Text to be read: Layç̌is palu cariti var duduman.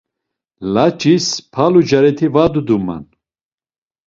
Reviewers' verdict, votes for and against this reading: accepted, 2, 0